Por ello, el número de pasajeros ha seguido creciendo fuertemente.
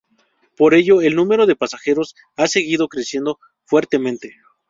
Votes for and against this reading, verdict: 2, 0, accepted